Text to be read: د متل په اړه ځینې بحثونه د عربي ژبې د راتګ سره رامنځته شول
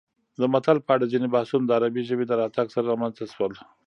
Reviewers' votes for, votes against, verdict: 1, 2, rejected